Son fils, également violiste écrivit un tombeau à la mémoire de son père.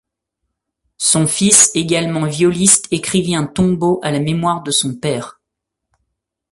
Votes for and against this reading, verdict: 2, 0, accepted